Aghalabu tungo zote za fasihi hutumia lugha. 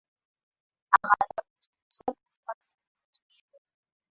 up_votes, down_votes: 0, 2